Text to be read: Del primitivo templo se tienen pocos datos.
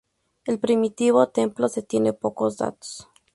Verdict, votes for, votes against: accepted, 2, 0